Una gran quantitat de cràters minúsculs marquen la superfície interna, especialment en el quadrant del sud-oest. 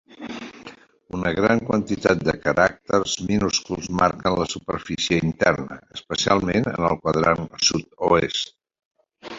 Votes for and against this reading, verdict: 0, 2, rejected